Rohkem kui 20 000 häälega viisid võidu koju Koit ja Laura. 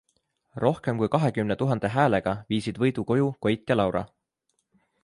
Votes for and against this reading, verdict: 0, 2, rejected